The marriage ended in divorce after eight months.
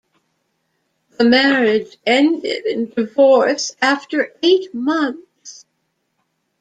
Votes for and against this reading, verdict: 2, 0, accepted